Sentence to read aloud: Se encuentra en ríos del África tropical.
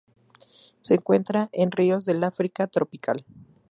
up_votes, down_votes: 0, 2